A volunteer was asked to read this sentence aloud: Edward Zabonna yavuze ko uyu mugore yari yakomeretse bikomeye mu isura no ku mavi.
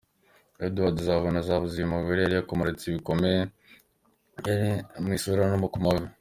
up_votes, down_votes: 0, 2